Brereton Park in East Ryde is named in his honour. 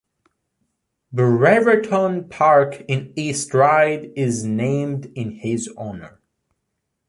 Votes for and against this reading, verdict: 2, 0, accepted